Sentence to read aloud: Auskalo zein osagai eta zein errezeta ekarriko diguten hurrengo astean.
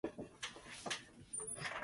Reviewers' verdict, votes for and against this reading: rejected, 0, 4